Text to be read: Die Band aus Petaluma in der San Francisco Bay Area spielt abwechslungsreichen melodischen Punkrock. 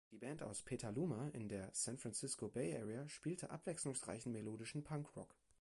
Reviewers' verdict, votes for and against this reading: rejected, 1, 2